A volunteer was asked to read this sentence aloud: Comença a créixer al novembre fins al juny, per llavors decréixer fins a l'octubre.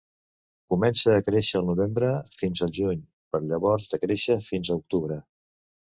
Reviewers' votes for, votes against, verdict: 0, 2, rejected